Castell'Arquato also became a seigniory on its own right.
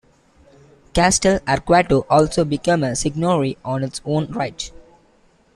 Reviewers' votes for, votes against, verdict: 2, 1, accepted